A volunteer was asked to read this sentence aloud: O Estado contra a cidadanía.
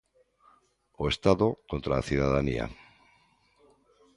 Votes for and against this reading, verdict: 1, 2, rejected